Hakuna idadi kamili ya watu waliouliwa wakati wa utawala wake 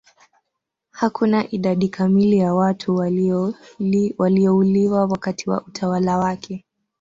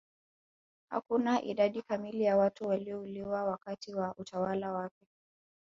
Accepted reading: second